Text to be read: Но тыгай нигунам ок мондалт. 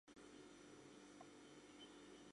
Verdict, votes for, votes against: rejected, 0, 2